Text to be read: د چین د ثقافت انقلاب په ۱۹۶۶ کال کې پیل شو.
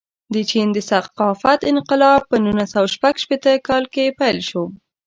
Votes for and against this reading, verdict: 0, 2, rejected